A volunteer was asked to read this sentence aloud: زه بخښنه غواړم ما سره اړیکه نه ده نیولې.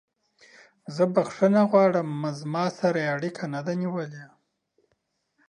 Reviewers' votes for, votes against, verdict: 0, 2, rejected